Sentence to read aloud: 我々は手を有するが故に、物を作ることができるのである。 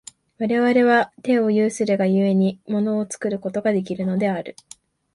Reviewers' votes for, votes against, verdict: 3, 0, accepted